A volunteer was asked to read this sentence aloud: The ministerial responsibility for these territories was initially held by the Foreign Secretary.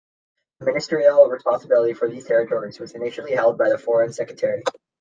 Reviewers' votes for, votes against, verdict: 1, 2, rejected